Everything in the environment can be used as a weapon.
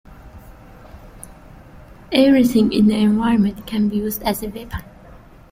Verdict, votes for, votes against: rejected, 0, 2